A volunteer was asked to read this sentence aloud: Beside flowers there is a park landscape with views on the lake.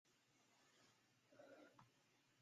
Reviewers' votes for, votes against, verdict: 0, 2, rejected